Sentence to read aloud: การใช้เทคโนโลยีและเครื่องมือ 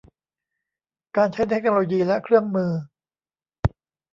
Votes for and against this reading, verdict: 0, 2, rejected